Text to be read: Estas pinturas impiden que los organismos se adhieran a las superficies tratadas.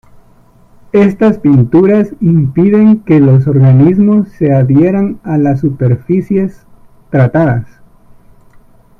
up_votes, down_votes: 2, 1